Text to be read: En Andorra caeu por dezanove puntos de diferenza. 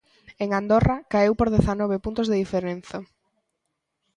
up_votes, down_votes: 2, 0